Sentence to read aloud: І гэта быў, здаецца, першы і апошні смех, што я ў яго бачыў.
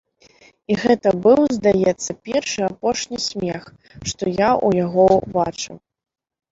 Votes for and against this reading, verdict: 3, 1, accepted